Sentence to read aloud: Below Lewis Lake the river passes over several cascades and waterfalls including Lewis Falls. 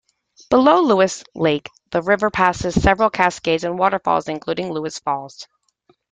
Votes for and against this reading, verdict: 1, 2, rejected